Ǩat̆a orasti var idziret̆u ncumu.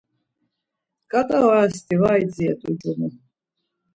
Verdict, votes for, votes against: accepted, 2, 0